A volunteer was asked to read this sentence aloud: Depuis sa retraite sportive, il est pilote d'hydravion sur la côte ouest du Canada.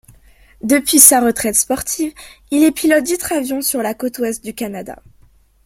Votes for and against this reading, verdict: 2, 0, accepted